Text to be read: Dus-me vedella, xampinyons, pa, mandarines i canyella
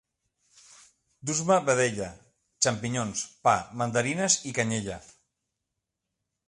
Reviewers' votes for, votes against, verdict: 2, 0, accepted